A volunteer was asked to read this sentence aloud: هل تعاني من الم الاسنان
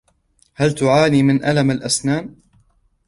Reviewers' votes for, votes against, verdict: 2, 0, accepted